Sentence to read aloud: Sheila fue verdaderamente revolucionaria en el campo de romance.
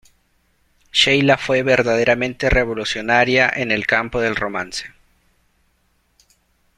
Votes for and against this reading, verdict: 1, 2, rejected